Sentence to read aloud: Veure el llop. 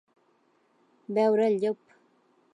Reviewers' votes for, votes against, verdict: 5, 0, accepted